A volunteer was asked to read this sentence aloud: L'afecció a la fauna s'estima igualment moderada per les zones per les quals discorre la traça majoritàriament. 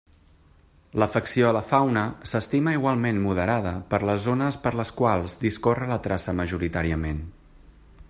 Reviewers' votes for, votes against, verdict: 3, 0, accepted